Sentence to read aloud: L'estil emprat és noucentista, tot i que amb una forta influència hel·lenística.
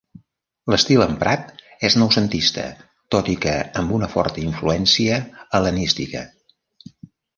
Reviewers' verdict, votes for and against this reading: accepted, 2, 0